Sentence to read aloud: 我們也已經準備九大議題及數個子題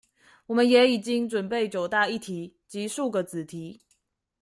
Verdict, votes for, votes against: accepted, 2, 1